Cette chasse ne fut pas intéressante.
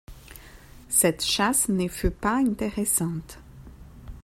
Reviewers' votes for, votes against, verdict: 2, 0, accepted